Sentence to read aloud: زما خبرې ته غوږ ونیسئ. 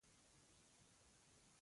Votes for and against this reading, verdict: 0, 2, rejected